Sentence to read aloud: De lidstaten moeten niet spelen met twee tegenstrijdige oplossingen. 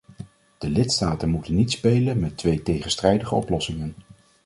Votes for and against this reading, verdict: 2, 0, accepted